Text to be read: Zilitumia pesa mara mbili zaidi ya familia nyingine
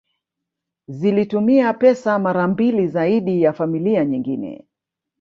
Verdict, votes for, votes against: rejected, 1, 2